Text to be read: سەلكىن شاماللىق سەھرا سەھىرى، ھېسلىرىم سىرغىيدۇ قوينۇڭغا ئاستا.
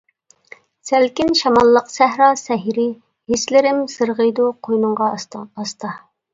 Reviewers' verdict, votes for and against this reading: rejected, 1, 2